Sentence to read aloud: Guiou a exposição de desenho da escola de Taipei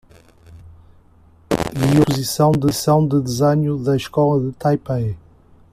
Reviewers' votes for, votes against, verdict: 0, 2, rejected